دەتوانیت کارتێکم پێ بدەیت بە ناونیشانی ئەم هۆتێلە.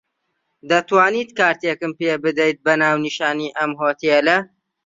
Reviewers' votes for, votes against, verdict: 2, 0, accepted